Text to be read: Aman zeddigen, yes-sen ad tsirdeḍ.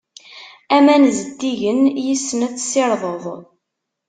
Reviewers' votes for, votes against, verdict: 2, 0, accepted